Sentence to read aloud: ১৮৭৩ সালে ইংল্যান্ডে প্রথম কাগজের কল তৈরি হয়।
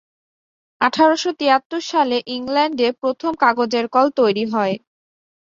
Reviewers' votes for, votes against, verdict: 0, 2, rejected